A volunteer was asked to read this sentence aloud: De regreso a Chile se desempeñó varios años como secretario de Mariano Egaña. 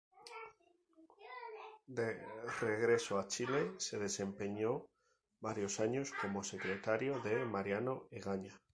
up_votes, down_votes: 0, 2